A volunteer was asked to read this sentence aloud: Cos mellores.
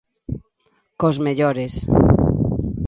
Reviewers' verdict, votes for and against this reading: accepted, 2, 0